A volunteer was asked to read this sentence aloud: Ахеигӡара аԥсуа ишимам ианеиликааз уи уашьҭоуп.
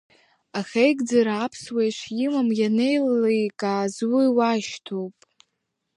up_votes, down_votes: 2, 0